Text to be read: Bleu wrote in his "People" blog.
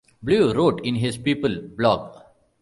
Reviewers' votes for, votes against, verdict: 2, 0, accepted